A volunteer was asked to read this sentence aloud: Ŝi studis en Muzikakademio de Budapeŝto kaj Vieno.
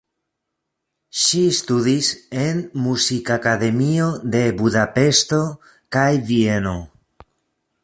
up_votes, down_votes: 1, 2